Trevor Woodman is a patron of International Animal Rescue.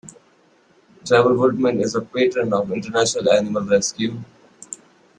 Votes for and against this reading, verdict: 2, 0, accepted